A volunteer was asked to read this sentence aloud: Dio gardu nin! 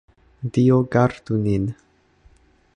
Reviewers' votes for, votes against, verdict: 2, 0, accepted